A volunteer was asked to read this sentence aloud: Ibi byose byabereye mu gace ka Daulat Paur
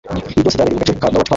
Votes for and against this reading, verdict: 2, 0, accepted